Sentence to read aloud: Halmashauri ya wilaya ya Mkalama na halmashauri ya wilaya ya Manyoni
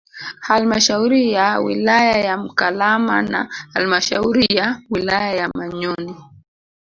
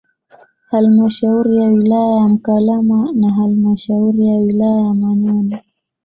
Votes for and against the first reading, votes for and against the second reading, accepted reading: 4, 5, 2, 0, second